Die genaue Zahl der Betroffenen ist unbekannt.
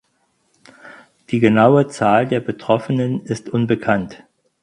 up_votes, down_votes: 4, 0